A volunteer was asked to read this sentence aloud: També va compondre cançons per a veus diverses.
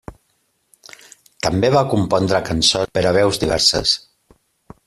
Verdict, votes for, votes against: rejected, 1, 2